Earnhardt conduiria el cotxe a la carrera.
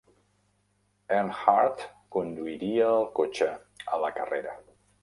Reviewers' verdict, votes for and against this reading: accepted, 2, 0